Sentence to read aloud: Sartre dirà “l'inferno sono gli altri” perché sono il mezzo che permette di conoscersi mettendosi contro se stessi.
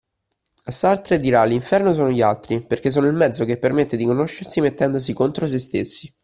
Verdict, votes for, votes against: accepted, 2, 0